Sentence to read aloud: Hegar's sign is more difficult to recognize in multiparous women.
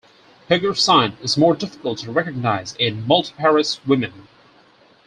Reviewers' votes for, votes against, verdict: 4, 0, accepted